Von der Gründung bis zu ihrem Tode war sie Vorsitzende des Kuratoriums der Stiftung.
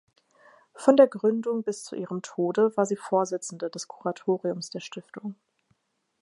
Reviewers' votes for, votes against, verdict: 4, 0, accepted